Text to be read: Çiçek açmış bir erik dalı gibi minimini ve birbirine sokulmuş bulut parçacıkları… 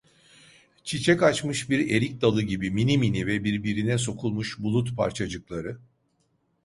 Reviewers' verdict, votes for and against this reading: accepted, 2, 0